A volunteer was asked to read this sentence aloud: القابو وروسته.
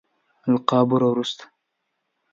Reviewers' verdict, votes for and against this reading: accepted, 2, 0